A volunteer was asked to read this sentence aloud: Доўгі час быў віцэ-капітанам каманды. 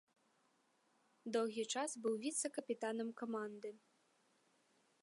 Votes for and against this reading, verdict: 2, 0, accepted